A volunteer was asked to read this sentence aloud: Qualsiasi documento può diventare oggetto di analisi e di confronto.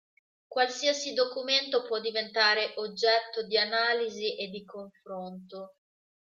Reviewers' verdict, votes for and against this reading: accepted, 2, 0